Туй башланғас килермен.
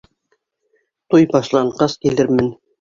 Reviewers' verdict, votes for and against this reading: accepted, 2, 0